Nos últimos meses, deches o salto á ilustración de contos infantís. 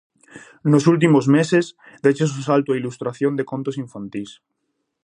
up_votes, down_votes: 2, 0